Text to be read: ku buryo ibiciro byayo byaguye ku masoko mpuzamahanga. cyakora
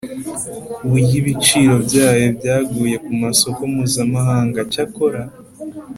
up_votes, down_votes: 4, 0